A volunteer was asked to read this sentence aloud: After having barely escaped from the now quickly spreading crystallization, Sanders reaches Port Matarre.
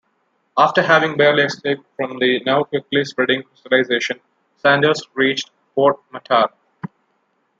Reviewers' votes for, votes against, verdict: 1, 2, rejected